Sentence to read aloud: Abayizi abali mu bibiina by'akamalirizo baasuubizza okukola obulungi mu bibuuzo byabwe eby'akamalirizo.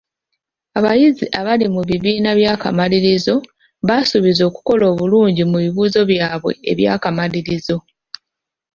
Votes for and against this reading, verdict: 1, 2, rejected